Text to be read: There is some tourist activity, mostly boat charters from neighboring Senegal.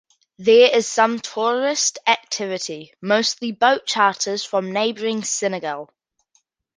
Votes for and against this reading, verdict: 2, 0, accepted